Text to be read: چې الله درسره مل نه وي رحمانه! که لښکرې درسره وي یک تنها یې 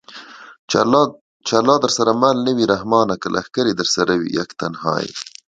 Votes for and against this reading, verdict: 2, 0, accepted